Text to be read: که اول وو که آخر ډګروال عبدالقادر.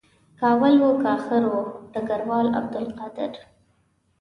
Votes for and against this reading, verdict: 1, 2, rejected